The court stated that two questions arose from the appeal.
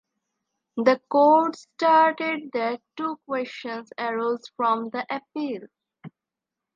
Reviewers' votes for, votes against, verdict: 0, 2, rejected